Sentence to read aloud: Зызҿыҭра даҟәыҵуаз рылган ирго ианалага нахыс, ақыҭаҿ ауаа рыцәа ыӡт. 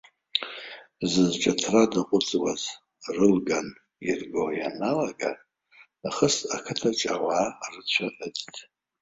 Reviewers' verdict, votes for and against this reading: rejected, 1, 2